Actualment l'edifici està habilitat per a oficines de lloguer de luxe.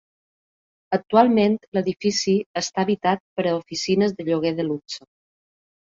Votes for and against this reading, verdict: 0, 2, rejected